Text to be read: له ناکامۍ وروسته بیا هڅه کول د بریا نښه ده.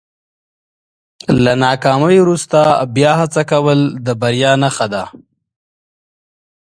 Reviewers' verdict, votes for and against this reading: accepted, 2, 0